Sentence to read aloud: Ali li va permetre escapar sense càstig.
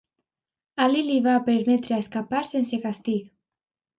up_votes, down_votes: 1, 2